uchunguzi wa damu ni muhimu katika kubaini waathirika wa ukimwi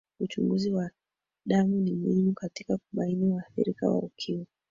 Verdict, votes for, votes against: rejected, 1, 4